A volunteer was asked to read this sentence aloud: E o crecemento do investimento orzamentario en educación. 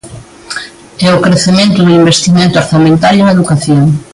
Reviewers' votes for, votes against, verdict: 2, 0, accepted